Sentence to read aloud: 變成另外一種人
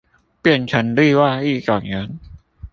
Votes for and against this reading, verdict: 2, 0, accepted